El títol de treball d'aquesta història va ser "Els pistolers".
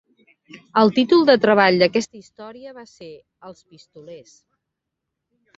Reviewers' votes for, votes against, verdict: 0, 2, rejected